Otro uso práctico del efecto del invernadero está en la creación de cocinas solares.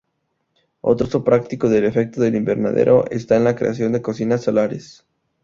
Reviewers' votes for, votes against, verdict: 2, 0, accepted